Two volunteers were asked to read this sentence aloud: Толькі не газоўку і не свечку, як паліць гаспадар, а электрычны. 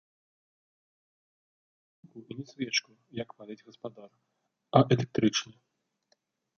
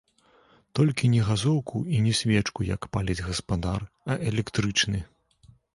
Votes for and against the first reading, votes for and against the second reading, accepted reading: 0, 2, 2, 0, second